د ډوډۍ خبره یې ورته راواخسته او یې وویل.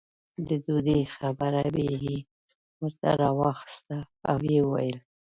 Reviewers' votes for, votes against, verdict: 2, 0, accepted